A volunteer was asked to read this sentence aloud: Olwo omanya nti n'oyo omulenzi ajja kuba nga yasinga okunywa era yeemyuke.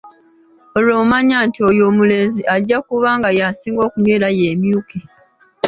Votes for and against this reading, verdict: 0, 2, rejected